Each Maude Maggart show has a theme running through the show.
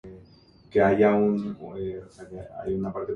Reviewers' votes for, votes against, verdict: 0, 2, rejected